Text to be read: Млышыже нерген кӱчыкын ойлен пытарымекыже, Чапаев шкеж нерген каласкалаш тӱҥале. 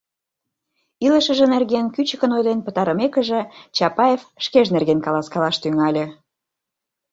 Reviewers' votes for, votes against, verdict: 0, 2, rejected